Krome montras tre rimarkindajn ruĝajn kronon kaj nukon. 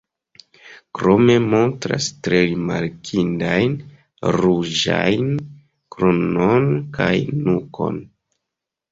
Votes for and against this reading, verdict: 1, 2, rejected